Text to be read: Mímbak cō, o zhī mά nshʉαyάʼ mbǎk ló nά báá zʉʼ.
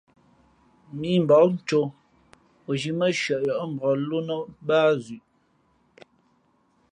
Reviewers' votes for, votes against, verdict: 2, 0, accepted